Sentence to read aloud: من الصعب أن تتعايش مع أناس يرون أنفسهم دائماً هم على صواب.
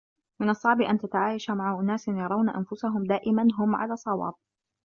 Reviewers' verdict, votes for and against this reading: rejected, 1, 2